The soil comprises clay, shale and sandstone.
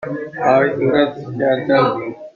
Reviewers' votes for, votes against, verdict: 0, 2, rejected